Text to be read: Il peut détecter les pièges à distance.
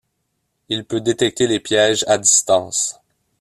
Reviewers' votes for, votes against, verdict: 2, 0, accepted